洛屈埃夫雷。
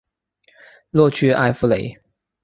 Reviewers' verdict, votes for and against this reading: accepted, 3, 0